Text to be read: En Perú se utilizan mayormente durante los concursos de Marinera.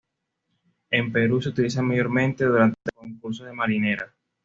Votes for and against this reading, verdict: 2, 0, accepted